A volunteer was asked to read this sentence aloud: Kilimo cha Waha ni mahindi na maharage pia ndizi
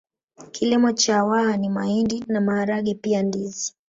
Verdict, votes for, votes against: accepted, 4, 0